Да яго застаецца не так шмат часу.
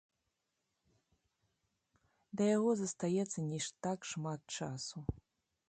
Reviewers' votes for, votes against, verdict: 0, 2, rejected